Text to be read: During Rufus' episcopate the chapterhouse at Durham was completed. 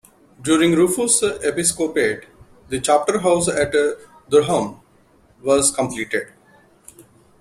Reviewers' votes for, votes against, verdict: 2, 0, accepted